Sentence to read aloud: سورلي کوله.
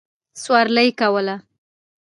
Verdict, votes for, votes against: accepted, 2, 0